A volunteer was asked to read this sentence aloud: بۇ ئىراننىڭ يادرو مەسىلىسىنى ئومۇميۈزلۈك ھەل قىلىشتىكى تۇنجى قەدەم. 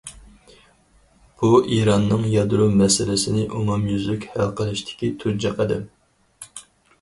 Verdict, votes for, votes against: accepted, 4, 0